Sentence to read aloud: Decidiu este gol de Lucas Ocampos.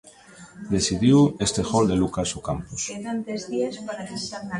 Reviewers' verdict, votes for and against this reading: rejected, 1, 2